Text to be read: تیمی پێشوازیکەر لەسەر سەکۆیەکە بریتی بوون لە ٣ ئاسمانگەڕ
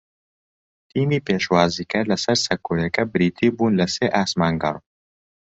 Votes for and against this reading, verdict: 0, 2, rejected